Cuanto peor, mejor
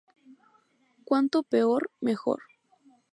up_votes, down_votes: 0, 2